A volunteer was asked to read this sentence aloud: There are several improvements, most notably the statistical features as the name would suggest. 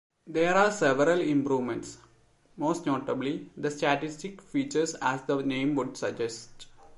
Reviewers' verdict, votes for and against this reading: rejected, 0, 2